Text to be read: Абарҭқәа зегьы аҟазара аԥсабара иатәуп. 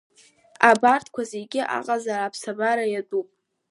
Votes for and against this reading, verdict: 1, 2, rejected